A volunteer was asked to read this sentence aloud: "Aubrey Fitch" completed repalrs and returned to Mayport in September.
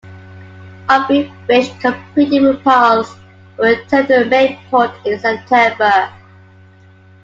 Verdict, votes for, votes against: accepted, 2, 0